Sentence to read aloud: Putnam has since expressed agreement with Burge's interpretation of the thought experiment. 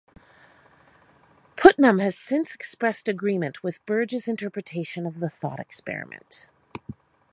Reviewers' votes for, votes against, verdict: 2, 0, accepted